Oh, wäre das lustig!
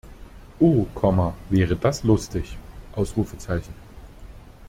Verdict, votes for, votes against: rejected, 1, 2